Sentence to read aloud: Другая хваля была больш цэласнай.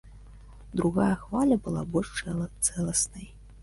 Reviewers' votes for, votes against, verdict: 1, 2, rejected